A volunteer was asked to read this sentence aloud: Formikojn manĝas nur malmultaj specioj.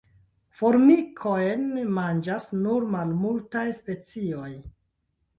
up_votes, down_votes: 2, 0